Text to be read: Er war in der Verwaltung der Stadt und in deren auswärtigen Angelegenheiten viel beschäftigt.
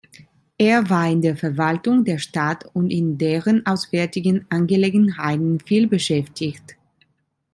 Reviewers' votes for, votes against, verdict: 1, 2, rejected